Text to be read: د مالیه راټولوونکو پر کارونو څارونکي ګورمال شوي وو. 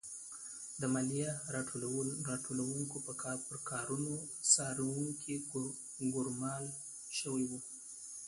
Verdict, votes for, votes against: rejected, 1, 2